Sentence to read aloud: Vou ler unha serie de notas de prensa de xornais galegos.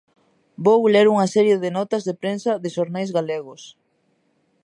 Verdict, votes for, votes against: accepted, 2, 0